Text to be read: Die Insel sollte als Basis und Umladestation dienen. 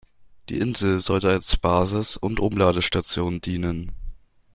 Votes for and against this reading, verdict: 2, 0, accepted